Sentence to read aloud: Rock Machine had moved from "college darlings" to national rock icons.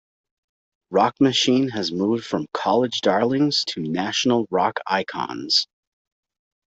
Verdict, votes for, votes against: accepted, 2, 1